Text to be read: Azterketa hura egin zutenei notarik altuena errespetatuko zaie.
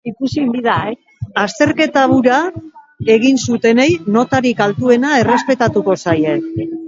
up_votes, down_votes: 0, 2